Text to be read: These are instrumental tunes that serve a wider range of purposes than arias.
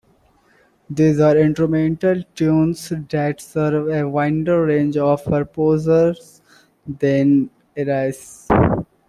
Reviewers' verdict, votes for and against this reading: rejected, 0, 2